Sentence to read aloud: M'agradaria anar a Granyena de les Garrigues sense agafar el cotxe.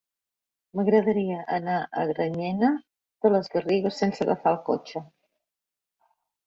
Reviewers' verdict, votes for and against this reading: accepted, 3, 0